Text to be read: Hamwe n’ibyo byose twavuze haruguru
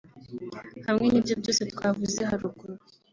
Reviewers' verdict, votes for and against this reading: accepted, 3, 0